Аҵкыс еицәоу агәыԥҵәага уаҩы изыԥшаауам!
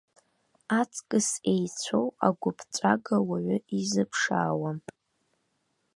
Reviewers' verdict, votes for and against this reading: accepted, 2, 0